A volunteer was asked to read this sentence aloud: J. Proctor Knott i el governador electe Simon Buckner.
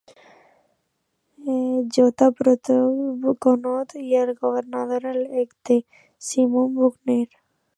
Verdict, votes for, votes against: rejected, 1, 2